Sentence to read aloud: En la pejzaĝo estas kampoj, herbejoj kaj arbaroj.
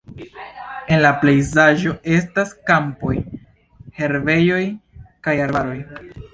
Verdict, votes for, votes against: accepted, 2, 0